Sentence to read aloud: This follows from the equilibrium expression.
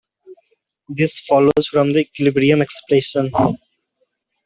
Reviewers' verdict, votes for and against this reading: rejected, 0, 2